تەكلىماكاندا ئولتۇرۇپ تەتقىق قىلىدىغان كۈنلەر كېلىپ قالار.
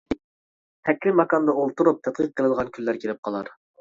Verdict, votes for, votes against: accepted, 2, 0